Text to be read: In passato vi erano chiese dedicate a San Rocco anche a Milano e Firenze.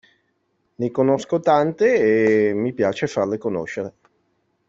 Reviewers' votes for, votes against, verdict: 0, 2, rejected